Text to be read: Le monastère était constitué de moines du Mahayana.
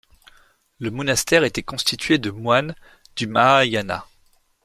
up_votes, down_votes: 2, 0